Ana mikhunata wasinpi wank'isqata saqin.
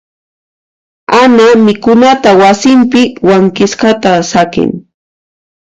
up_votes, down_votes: 1, 2